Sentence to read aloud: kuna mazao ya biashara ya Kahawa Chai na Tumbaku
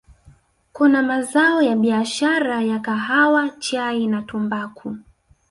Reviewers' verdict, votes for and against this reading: rejected, 1, 2